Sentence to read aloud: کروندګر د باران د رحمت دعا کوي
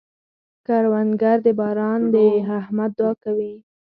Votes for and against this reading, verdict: 2, 4, rejected